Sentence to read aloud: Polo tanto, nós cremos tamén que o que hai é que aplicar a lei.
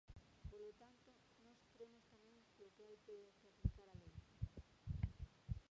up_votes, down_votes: 1, 2